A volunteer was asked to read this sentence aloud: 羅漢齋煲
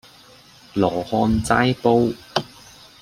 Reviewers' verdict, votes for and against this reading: accepted, 2, 0